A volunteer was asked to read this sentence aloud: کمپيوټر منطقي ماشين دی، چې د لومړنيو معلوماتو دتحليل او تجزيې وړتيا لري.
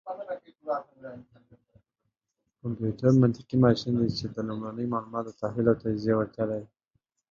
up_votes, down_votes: 2, 3